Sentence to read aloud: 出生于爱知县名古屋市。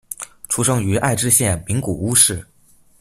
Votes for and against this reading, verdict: 2, 0, accepted